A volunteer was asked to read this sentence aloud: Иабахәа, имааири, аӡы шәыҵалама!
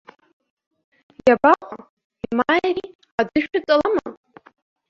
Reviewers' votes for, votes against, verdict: 0, 2, rejected